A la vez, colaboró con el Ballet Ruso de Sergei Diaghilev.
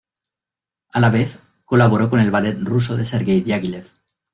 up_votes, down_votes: 2, 0